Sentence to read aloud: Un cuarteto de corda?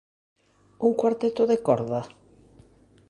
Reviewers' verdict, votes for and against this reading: accepted, 2, 0